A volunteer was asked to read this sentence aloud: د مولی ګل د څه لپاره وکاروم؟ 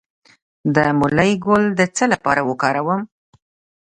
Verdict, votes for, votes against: accepted, 2, 0